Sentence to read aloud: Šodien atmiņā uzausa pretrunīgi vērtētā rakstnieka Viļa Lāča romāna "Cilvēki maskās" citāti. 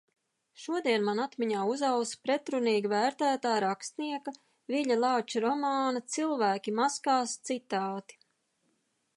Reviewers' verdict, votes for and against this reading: rejected, 0, 2